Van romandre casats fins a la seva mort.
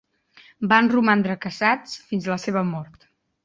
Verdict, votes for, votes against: rejected, 0, 2